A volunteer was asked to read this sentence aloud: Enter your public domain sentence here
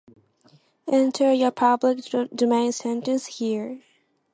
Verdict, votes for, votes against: rejected, 1, 2